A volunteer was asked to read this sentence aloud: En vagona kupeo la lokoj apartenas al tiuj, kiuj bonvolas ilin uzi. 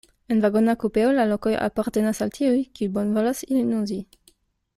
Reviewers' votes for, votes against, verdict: 0, 2, rejected